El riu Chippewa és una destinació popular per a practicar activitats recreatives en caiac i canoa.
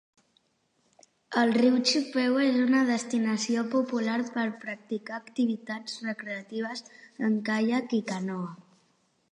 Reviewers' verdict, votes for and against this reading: accepted, 2, 0